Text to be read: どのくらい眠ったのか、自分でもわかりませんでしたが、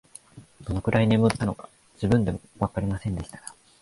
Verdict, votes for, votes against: rejected, 0, 2